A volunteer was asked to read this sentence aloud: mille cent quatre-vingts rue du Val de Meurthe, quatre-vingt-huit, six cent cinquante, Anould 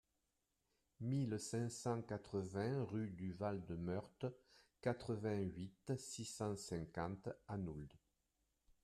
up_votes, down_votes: 0, 3